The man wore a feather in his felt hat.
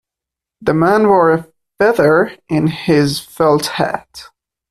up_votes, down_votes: 0, 2